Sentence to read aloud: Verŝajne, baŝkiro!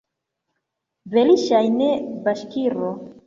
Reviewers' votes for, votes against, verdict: 1, 2, rejected